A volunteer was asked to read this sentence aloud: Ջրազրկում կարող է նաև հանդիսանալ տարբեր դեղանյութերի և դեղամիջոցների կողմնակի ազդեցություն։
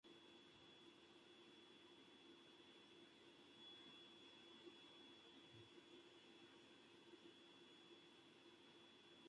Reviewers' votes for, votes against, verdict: 0, 2, rejected